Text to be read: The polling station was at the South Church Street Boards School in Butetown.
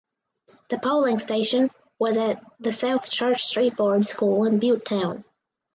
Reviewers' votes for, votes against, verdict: 4, 0, accepted